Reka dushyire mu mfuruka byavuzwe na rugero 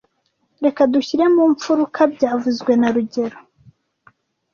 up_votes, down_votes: 0, 2